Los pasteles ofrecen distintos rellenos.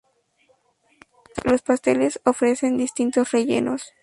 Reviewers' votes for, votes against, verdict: 2, 0, accepted